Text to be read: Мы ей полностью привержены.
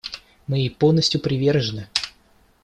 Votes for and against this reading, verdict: 2, 0, accepted